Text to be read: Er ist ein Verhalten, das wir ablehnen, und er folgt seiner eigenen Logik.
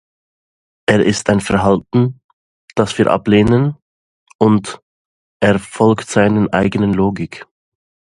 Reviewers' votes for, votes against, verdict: 1, 2, rejected